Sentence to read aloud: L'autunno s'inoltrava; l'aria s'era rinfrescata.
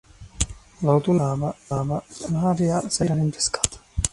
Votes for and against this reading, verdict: 0, 2, rejected